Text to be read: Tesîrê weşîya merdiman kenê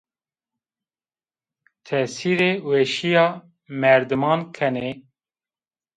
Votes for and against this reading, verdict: 1, 2, rejected